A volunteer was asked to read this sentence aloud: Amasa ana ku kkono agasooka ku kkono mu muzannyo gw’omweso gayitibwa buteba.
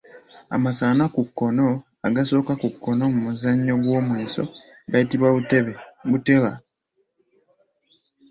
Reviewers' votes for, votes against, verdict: 0, 2, rejected